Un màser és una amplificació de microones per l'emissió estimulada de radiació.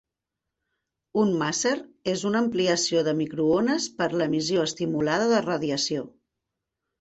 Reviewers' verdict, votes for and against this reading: rejected, 1, 2